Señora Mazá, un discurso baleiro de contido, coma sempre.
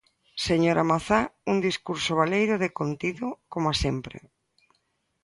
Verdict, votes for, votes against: accepted, 2, 0